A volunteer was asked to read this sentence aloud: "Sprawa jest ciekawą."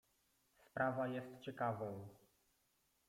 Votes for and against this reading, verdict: 0, 2, rejected